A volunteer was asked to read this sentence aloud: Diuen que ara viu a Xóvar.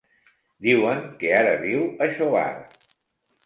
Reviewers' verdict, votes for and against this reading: rejected, 1, 2